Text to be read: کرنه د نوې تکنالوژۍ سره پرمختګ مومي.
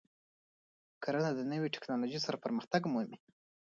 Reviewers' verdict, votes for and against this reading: accepted, 2, 1